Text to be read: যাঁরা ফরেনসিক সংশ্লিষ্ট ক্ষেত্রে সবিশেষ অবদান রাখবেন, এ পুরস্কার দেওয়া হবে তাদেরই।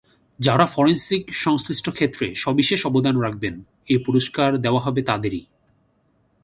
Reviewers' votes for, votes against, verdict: 2, 0, accepted